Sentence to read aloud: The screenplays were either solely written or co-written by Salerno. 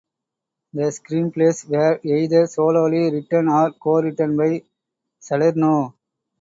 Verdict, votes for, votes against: accepted, 2, 0